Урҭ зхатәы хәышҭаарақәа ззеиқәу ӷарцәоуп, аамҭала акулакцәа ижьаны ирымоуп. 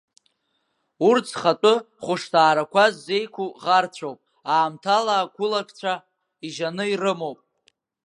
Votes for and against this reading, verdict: 2, 0, accepted